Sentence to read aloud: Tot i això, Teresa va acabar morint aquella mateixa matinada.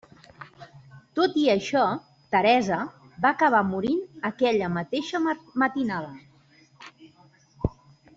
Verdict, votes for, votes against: rejected, 1, 2